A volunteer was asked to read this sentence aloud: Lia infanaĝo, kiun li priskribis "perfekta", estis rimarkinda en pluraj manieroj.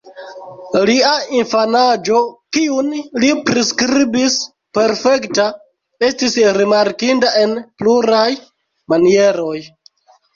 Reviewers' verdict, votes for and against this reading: rejected, 0, 2